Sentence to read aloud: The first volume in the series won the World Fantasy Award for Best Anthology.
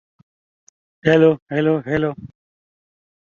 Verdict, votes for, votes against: rejected, 0, 3